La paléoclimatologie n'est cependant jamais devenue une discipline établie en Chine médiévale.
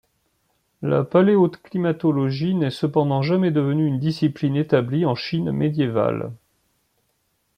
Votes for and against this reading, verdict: 0, 2, rejected